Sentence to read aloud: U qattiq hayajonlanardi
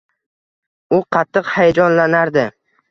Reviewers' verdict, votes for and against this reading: accepted, 2, 0